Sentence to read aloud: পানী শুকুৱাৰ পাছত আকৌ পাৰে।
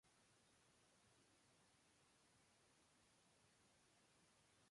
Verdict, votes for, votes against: rejected, 0, 3